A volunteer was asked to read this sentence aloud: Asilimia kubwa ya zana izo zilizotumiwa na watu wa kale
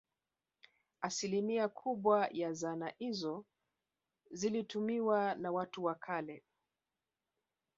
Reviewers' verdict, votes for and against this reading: rejected, 1, 2